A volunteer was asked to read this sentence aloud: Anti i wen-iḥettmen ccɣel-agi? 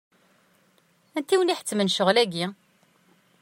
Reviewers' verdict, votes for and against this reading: accepted, 2, 0